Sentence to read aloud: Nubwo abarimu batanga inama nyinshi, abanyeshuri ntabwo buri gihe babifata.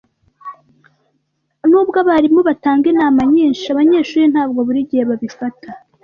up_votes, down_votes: 2, 0